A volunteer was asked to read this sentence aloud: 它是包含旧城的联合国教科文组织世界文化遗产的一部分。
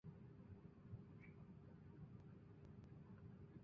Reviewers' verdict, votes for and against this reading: rejected, 0, 2